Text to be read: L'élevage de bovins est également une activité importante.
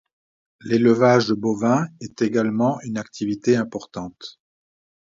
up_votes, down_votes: 2, 0